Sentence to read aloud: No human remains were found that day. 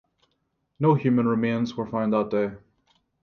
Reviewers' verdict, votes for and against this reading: accepted, 3, 0